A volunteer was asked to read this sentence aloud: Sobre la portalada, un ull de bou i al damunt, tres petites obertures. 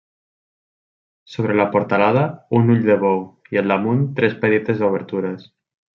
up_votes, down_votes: 2, 0